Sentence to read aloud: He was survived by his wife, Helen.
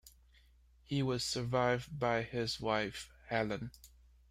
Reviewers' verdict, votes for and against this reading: accepted, 2, 1